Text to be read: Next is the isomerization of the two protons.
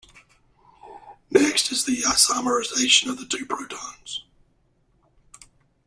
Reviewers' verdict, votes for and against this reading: rejected, 0, 2